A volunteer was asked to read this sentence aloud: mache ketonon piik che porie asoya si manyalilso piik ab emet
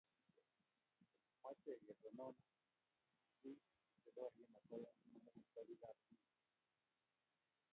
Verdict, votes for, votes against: rejected, 1, 2